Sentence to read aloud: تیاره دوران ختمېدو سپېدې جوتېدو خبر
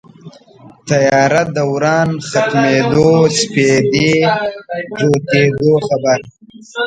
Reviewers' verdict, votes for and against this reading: rejected, 0, 2